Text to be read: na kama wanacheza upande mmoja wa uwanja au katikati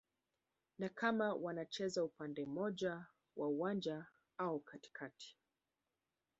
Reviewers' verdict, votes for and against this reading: accepted, 2, 1